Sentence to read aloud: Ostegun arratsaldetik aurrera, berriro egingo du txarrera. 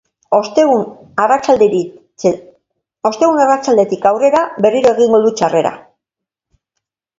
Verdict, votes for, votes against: rejected, 0, 2